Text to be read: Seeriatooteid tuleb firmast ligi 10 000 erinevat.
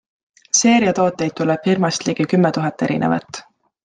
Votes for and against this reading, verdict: 0, 2, rejected